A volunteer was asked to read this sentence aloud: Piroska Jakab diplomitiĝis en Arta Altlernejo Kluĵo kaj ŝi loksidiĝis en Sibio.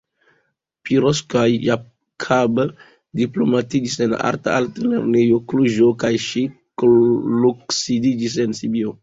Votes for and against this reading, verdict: 2, 0, accepted